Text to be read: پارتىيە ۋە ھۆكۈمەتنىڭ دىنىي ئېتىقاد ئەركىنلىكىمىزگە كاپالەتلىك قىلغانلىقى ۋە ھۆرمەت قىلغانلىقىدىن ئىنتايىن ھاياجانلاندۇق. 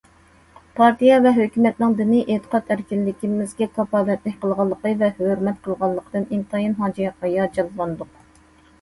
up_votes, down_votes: 0, 2